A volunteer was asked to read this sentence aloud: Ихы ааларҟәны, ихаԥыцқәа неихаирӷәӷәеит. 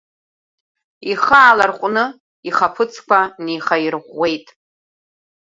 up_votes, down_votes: 2, 1